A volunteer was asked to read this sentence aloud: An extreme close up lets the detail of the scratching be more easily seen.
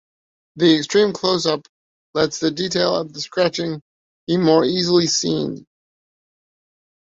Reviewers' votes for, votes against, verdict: 2, 0, accepted